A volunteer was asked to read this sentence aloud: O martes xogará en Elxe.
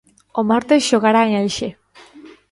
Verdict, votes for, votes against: accepted, 2, 0